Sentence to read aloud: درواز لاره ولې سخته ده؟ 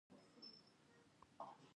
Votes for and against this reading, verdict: 1, 2, rejected